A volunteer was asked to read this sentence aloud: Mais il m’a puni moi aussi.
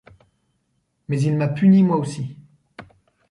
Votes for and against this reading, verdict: 2, 0, accepted